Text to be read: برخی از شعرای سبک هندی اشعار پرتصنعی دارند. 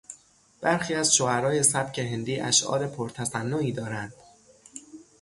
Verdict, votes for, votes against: rejected, 3, 3